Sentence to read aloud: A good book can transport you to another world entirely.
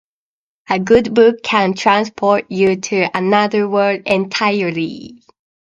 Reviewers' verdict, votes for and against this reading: accepted, 2, 0